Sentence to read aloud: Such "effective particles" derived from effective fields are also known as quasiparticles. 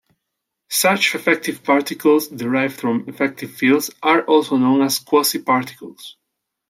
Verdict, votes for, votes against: accepted, 2, 0